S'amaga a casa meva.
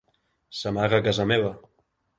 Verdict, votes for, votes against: accepted, 2, 0